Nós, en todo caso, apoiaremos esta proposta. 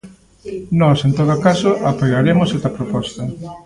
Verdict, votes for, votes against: accepted, 2, 1